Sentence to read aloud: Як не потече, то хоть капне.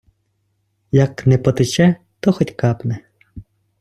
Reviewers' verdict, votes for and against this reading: accepted, 2, 0